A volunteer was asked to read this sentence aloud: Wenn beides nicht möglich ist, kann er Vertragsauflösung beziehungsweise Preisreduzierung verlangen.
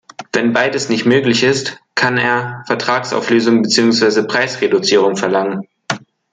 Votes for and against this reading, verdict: 2, 0, accepted